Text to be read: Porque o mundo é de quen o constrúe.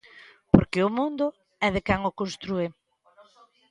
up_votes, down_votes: 3, 0